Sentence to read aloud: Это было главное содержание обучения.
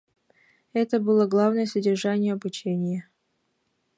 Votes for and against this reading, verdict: 1, 2, rejected